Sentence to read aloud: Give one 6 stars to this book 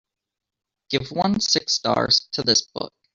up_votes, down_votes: 0, 2